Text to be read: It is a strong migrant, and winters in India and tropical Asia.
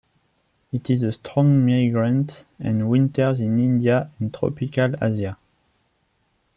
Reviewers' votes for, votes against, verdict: 0, 2, rejected